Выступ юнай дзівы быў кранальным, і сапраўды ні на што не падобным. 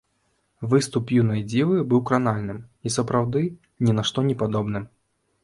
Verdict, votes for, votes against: accepted, 2, 0